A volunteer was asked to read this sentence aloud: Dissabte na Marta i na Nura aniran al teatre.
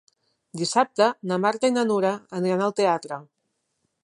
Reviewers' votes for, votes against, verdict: 4, 0, accepted